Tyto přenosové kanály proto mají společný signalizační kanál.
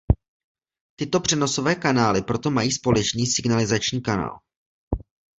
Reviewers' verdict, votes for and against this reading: accepted, 2, 1